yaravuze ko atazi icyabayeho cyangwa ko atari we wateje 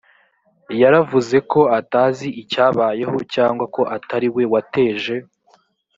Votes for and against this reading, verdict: 0, 2, rejected